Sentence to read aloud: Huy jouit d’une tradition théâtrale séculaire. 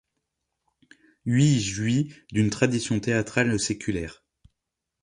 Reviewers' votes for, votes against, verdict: 2, 0, accepted